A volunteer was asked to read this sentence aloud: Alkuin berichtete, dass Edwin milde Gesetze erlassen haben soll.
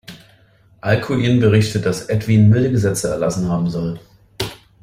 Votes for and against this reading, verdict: 1, 2, rejected